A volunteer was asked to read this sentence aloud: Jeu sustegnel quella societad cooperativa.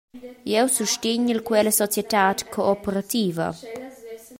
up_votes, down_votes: 2, 0